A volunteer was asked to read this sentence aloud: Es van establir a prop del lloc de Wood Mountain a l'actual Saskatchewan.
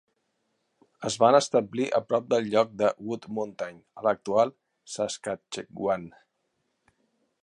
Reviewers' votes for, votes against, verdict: 0, 2, rejected